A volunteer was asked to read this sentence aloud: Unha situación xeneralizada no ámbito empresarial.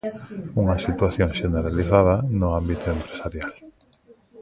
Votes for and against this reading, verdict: 1, 2, rejected